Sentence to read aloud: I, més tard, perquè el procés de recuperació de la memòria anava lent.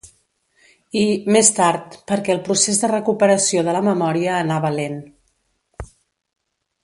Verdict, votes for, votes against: accepted, 2, 0